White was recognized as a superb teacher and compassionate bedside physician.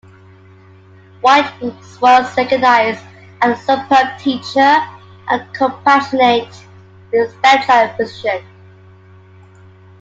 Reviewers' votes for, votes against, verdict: 0, 2, rejected